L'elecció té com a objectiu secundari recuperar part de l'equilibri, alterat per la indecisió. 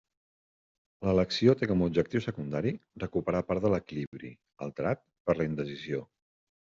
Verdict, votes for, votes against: accepted, 2, 0